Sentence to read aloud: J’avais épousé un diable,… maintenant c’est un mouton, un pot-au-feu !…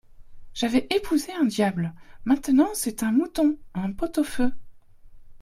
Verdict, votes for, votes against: accepted, 2, 0